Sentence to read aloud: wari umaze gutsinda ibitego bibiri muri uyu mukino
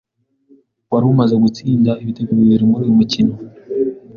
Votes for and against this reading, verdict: 2, 0, accepted